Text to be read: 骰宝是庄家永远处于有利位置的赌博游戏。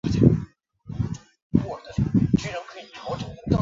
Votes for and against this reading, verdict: 0, 3, rejected